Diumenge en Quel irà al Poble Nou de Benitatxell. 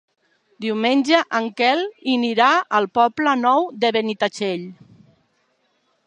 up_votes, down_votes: 1, 2